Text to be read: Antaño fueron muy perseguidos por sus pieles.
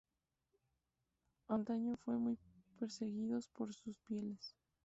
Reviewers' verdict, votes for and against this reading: rejected, 2, 2